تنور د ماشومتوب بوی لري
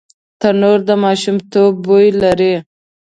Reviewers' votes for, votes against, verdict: 2, 0, accepted